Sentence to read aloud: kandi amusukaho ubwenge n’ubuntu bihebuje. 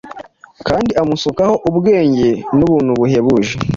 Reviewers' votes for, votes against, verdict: 1, 2, rejected